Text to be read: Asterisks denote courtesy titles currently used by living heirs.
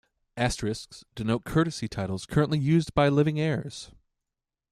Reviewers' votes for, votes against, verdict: 2, 0, accepted